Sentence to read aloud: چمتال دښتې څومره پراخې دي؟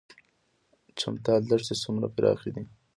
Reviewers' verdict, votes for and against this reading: accepted, 2, 0